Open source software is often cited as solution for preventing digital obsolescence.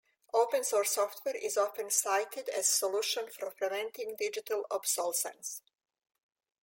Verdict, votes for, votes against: rejected, 1, 2